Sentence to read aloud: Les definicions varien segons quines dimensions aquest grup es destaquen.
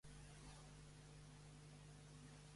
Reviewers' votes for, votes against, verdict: 0, 2, rejected